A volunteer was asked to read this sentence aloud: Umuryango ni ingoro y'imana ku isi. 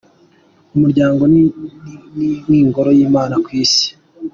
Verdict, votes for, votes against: accepted, 2, 1